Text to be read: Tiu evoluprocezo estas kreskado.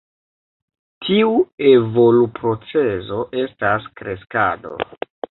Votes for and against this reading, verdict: 2, 0, accepted